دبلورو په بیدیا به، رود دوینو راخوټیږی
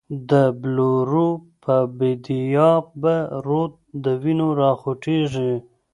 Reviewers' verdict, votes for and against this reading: rejected, 1, 2